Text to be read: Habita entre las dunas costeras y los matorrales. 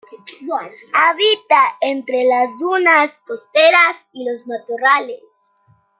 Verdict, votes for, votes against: accepted, 2, 0